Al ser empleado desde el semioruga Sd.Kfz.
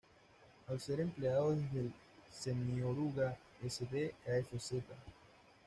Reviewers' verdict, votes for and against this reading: accepted, 2, 0